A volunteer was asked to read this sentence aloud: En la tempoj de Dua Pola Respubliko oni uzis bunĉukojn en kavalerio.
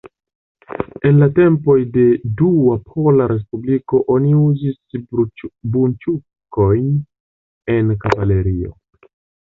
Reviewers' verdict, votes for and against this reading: rejected, 1, 2